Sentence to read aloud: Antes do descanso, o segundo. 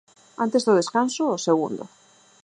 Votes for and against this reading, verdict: 4, 0, accepted